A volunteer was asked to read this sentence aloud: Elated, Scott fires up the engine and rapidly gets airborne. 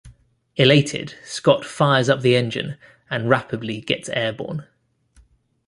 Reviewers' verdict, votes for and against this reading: rejected, 0, 2